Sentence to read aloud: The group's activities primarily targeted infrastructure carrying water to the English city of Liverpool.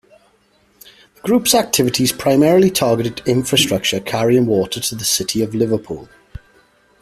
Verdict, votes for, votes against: rejected, 0, 2